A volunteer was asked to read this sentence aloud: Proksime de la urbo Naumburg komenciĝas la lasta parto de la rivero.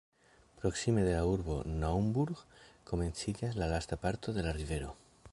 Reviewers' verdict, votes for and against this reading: rejected, 1, 2